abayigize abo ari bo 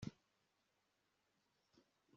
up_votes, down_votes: 1, 2